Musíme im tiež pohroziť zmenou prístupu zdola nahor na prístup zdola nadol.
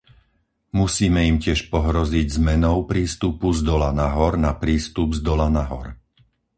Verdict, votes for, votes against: rejected, 2, 2